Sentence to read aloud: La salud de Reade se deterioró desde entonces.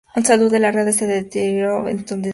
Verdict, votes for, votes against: rejected, 0, 4